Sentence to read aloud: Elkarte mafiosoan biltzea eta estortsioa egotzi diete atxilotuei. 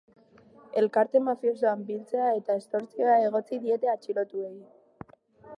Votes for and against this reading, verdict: 1, 2, rejected